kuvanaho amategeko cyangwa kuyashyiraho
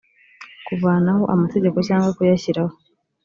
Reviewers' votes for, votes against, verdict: 2, 0, accepted